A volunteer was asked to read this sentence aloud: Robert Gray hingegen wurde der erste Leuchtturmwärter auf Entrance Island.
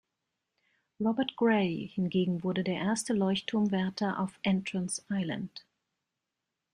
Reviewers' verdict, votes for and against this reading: rejected, 1, 2